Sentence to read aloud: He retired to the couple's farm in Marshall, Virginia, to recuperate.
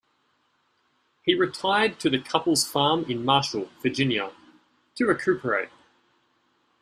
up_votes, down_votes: 2, 0